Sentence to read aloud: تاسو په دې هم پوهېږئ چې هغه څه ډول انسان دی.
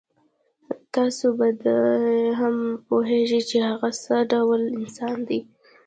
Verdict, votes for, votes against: rejected, 0, 2